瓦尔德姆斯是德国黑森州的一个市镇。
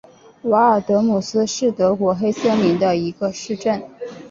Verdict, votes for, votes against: accepted, 5, 0